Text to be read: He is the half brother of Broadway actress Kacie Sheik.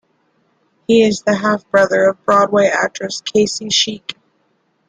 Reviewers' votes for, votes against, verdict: 2, 0, accepted